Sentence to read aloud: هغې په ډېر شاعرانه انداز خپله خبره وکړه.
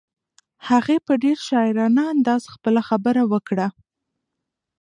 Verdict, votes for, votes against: rejected, 0, 2